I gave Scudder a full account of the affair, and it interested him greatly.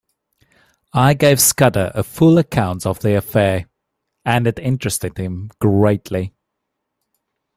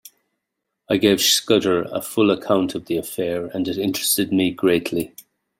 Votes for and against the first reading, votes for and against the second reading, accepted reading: 2, 0, 0, 2, first